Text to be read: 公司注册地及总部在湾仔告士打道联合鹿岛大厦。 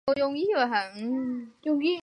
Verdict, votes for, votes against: rejected, 0, 2